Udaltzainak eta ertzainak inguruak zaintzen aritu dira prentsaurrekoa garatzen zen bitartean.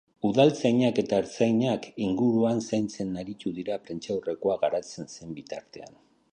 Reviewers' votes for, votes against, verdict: 0, 2, rejected